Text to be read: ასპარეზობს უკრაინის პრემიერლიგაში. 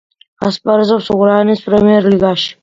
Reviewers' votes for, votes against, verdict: 2, 1, accepted